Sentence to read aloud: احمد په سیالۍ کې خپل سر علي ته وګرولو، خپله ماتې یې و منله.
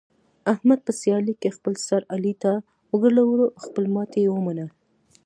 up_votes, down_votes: 2, 0